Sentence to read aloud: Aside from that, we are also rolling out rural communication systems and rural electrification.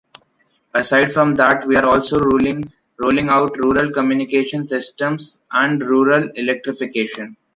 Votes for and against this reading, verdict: 0, 2, rejected